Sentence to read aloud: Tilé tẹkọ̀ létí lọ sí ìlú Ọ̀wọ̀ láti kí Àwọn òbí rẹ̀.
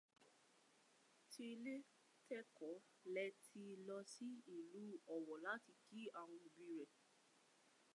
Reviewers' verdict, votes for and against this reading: accepted, 2, 1